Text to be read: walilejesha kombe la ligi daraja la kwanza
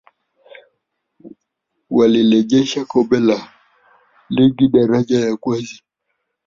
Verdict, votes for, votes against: rejected, 0, 3